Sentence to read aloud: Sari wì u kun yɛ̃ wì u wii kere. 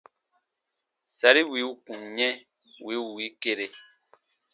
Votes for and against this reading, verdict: 2, 0, accepted